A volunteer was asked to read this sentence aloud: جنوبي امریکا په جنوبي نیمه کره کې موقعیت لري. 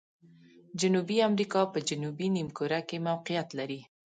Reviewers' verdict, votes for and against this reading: accepted, 2, 0